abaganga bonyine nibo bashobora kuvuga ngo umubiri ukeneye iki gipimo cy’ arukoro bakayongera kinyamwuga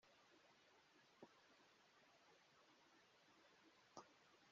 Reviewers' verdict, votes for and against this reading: rejected, 0, 2